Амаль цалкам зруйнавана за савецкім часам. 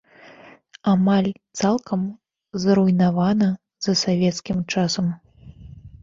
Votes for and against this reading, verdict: 2, 0, accepted